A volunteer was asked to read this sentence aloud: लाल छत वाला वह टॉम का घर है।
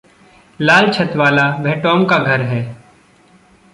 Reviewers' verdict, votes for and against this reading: accepted, 2, 0